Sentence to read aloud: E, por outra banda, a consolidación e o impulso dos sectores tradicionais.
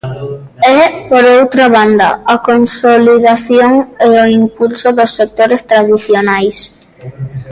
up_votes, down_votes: 2, 0